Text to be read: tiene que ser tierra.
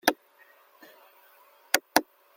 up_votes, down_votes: 0, 2